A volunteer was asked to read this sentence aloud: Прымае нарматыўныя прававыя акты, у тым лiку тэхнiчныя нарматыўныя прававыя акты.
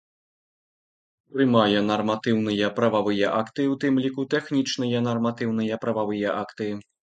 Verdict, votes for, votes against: accepted, 2, 0